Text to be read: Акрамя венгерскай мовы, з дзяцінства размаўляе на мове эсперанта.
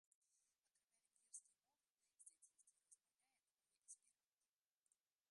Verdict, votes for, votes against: rejected, 0, 2